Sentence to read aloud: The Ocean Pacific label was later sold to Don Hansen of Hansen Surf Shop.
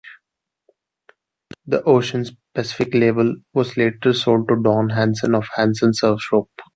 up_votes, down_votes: 0, 2